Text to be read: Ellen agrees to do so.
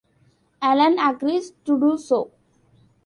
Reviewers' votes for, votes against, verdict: 2, 0, accepted